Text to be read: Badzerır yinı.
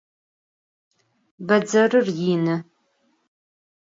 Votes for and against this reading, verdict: 4, 0, accepted